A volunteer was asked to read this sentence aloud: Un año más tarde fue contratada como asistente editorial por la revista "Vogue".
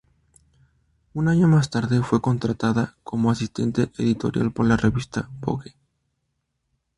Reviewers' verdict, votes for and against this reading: accepted, 2, 0